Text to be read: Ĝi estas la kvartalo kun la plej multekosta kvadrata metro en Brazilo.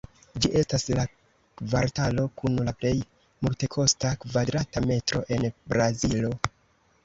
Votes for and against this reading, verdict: 2, 0, accepted